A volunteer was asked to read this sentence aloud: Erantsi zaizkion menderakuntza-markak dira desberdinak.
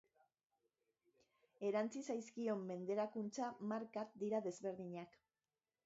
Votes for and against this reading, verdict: 0, 2, rejected